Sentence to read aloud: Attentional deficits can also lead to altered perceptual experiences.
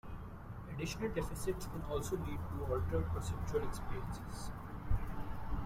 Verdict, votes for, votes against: rejected, 1, 2